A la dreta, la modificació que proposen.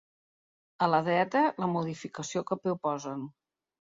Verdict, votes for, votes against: accepted, 3, 0